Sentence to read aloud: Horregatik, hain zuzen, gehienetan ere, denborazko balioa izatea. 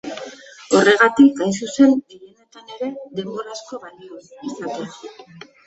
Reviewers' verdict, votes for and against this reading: rejected, 1, 2